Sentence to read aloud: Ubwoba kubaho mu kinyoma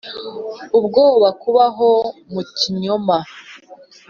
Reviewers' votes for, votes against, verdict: 4, 0, accepted